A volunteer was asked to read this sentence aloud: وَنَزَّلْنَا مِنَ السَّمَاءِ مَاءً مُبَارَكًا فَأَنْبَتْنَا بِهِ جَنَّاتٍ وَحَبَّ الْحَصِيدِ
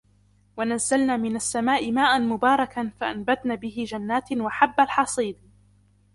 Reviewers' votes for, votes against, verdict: 3, 1, accepted